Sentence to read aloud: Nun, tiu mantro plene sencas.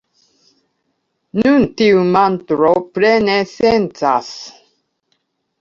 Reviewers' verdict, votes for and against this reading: accepted, 2, 1